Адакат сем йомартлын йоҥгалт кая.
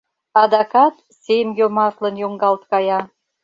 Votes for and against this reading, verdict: 2, 0, accepted